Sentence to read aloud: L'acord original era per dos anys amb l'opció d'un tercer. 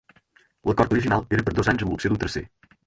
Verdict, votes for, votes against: accepted, 4, 0